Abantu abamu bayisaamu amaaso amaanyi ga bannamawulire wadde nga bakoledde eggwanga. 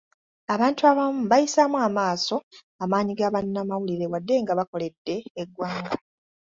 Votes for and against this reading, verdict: 2, 0, accepted